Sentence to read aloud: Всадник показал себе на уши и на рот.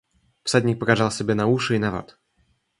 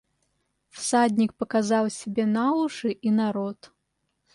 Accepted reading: second